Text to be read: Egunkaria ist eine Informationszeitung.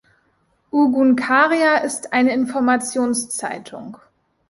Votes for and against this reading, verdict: 1, 2, rejected